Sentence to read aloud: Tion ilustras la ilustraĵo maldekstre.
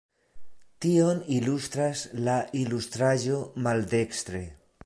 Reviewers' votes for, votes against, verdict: 2, 0, accepted